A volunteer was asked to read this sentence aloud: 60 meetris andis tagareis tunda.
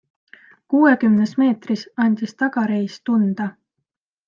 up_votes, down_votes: 0, 2